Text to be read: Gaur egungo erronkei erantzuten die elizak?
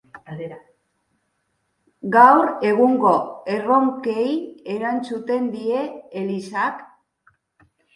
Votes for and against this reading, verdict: 1, 3, rejected